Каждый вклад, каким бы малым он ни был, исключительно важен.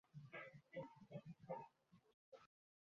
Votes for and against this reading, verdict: 0, 2, rejected